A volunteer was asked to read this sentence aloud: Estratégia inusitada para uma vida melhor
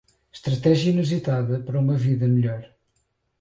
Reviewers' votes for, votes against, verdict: 2, 2, rejected